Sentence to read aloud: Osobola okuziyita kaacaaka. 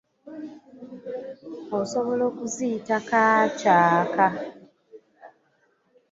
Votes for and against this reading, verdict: 2, 1, accepted